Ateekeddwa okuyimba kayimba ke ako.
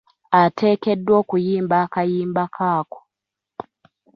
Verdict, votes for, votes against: accepted, 2, 0